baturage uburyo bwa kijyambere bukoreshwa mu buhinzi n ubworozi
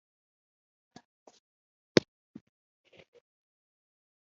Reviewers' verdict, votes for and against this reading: rejected, 0, 2